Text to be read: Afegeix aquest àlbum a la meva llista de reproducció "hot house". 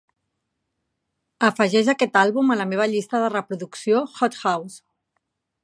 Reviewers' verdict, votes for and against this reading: accepted, 3, 0